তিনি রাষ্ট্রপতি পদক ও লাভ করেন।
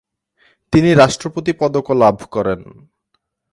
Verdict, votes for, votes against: accepted, 2, 0